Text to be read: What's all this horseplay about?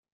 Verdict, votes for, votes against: rejected, 0, 2